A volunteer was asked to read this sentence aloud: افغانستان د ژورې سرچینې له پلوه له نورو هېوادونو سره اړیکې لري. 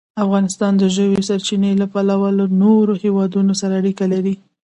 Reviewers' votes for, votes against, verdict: 2, 0, accepted